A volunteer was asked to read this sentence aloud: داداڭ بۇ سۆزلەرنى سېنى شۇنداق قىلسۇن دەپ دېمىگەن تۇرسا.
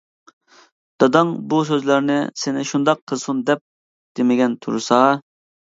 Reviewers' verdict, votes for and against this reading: accepted, 2, 0